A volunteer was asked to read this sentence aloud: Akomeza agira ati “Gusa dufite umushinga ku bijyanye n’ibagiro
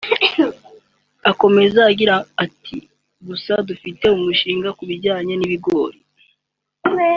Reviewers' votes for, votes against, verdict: 2, 1, accepted